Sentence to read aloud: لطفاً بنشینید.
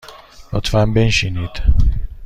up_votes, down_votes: 2, 0